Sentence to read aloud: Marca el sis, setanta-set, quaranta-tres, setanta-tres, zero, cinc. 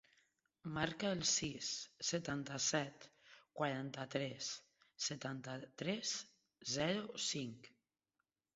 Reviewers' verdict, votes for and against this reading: accepted, 2, 0